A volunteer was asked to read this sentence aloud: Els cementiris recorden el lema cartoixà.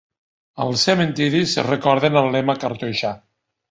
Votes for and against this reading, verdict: 1, 2, rejected